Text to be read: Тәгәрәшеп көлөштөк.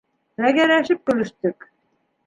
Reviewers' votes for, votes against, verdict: 2, 0, accepted